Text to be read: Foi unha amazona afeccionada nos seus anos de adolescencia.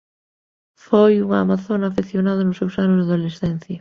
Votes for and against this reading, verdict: 1, 2, rejected